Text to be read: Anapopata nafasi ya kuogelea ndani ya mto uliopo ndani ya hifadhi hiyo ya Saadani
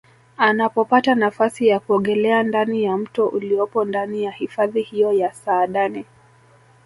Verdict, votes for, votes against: rejected, 1, 2